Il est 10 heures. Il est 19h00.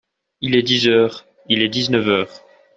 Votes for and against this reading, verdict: 0, 2, rejected